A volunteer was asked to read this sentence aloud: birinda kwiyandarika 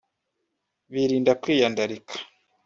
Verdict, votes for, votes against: rejected, 0, 2